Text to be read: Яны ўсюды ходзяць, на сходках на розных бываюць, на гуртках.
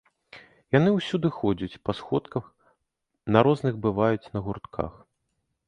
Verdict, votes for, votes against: rejected, 0, 2